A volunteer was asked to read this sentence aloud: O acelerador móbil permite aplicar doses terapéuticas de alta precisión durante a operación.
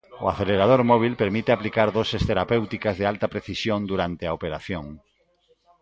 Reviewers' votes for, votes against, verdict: 2, 0, accepted